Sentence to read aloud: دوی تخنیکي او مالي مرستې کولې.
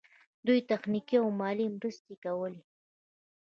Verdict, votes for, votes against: accepted, 2, 0